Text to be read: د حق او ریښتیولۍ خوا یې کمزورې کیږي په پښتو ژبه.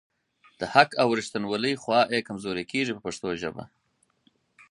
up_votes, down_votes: 6, 0